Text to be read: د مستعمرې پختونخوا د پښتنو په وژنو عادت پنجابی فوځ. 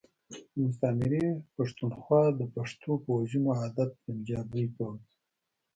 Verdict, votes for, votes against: rejected, 0, 2